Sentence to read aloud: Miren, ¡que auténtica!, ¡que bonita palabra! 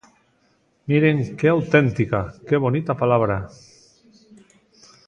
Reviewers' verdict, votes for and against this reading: accepted, 2, 0